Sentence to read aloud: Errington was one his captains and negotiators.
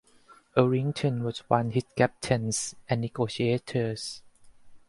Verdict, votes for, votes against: rejected, 0, 4